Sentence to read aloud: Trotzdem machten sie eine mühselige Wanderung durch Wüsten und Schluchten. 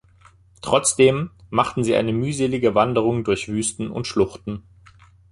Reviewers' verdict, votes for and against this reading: accepted, 2, 0